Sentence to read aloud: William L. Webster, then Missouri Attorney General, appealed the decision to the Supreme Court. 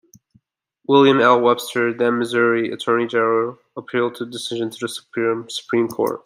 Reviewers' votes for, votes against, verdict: 1, 2, rejected